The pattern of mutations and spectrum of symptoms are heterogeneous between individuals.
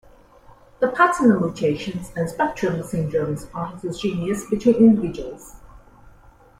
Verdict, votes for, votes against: rejected, 1, 2